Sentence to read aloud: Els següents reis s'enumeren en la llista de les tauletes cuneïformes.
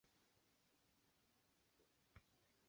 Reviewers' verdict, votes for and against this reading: rejected, 0, 2